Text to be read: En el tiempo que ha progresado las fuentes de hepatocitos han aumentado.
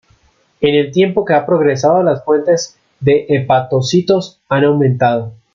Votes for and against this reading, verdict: 1, 2, rejected